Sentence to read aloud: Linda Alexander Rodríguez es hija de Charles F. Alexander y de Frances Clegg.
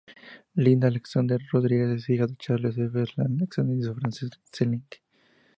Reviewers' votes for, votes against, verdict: 0, 2, rejected